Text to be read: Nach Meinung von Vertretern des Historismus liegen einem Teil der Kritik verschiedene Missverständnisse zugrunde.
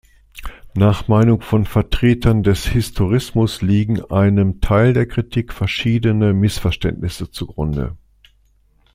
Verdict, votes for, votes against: accepted, 2, 0